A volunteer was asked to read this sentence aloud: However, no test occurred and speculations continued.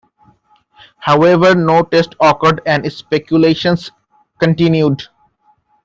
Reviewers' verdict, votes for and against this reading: rejected, 1, 2